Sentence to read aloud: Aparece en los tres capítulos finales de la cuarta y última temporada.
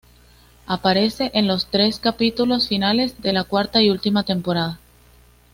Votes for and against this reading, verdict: 2, 0, accepted